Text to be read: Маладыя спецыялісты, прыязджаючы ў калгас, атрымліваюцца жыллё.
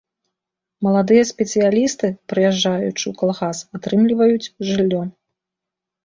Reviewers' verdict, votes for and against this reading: accepted, 2, 1